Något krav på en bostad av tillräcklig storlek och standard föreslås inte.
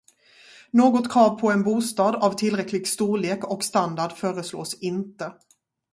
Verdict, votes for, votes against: accepted, 2, 0